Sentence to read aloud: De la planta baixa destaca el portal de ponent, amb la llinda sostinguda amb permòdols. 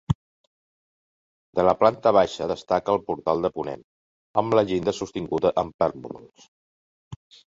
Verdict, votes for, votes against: rejected, 0, 2